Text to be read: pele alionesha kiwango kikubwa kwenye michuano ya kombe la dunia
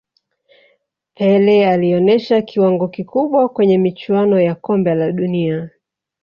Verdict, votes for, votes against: rejected, 0, 2